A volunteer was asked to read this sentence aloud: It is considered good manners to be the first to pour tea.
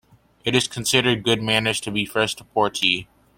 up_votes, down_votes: 2, 0